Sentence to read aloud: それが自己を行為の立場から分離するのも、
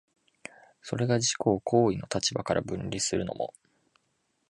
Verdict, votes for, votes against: accepted, 2, 0